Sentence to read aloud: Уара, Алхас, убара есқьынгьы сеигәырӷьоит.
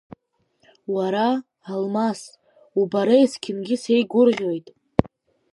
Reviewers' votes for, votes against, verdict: 1, 3, rejected